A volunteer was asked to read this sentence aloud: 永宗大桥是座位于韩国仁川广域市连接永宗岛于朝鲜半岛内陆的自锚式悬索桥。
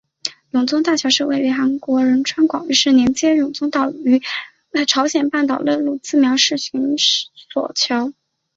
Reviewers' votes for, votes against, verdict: 0, 2, rejected